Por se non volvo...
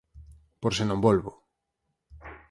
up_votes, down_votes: 4, 0